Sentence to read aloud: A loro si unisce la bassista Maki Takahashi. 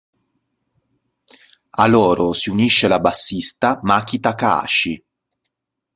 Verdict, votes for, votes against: accepted, 2, 0